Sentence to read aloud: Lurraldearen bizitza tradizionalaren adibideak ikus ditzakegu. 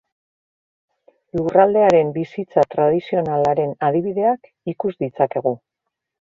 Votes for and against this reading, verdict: 2, 0, accepted